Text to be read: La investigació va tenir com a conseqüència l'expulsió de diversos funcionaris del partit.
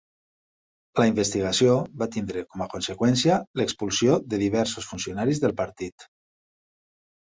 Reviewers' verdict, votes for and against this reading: rejected, 1, 2